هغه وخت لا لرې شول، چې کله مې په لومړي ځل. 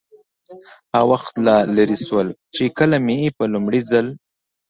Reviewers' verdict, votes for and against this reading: accepted, 2, 0